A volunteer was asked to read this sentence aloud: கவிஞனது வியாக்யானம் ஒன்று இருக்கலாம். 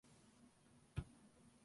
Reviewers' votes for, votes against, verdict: 0, 3, rejected